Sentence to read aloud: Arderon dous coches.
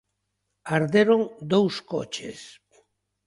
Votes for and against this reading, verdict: 3, 0, accepted